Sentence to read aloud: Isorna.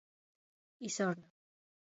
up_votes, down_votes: 2, 1